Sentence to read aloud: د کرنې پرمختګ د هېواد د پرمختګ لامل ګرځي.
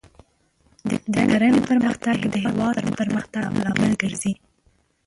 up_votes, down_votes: 0, 2